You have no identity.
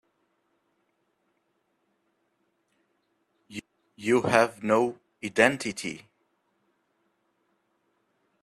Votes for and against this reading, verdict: 0, 2, rejected